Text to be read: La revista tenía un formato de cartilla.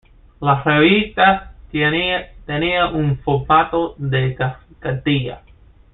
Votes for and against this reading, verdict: 1, 2, rejected